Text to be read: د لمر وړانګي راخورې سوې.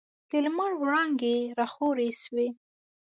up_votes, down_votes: 0, 2